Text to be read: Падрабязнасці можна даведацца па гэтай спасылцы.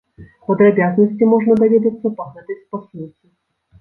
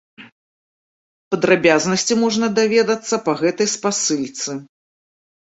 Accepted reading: first